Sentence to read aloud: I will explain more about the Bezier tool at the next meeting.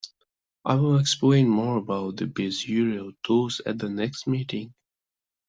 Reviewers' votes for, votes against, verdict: 0, 2, rejected